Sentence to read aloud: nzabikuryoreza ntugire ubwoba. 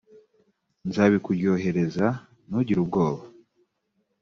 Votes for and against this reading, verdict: 1, 2, rejected